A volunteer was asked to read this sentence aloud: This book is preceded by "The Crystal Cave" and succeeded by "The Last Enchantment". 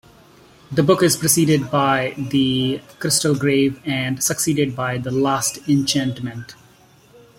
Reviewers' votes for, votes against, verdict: 0, 2, rejected